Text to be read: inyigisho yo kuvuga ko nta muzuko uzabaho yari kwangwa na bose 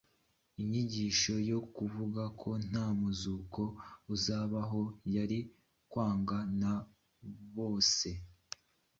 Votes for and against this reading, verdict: 2, 0, accepted